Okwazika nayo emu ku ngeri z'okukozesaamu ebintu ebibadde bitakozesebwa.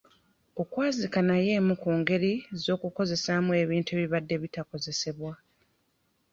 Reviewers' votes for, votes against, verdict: 2, 0, accepted